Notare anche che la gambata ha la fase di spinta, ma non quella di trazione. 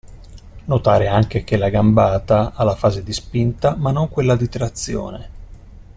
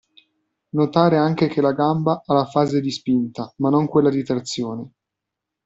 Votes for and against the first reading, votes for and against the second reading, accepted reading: 2, 0, 1, 2, first